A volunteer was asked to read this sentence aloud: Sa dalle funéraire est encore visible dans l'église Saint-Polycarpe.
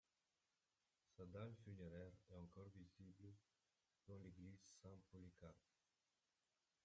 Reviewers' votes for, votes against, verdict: 0, 2, rejected